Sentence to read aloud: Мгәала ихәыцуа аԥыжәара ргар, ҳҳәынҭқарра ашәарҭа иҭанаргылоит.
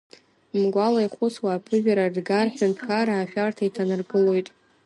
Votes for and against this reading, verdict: 3, 1, accepted